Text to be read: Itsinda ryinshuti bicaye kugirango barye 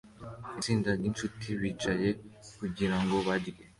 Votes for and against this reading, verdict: 2, 0, accepted